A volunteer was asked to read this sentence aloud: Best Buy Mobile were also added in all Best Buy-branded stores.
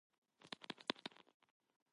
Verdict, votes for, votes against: rejected, 0, 2